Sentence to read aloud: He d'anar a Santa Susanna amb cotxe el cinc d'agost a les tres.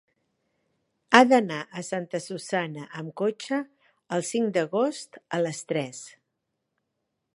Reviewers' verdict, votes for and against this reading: rejected, 1, 2